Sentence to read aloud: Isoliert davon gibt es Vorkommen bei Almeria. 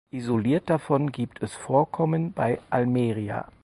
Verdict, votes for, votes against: accepted, 4, 0